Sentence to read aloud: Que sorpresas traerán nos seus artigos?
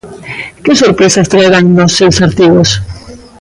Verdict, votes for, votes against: accepted, 2, 0